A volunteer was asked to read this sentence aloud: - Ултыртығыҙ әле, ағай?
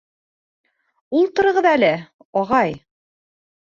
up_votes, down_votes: 1, 2